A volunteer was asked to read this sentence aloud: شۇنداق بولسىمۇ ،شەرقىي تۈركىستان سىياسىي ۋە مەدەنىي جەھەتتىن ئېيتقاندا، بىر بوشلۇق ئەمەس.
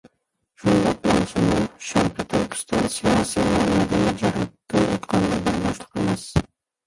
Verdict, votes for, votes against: rejected, 0, 2